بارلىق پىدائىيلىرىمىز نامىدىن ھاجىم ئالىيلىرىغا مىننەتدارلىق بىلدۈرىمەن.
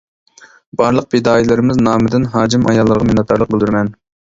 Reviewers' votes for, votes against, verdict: 0, 2, rejected